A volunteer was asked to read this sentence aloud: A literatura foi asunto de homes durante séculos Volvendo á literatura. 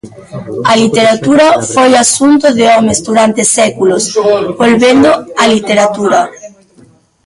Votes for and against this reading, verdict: 0, 2, rejected